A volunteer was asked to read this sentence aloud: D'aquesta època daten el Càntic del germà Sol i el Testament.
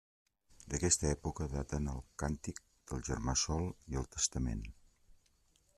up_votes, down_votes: 3, 0